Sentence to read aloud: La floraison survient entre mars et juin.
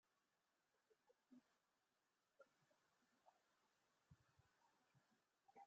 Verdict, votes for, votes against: rejected, 0, 2